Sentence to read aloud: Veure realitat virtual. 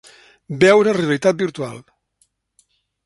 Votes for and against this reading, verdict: 3, 0, accepted